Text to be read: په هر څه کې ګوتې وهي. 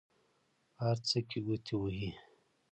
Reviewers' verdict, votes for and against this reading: accepted, 2, 0